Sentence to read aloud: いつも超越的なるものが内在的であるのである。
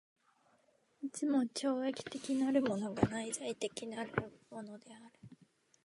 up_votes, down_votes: 1, 2